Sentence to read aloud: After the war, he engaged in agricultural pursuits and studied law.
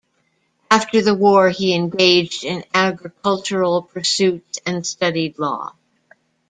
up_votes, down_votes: 2, 0